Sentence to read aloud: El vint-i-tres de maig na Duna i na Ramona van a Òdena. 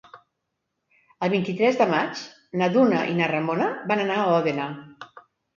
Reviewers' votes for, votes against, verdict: 1, 2, rejected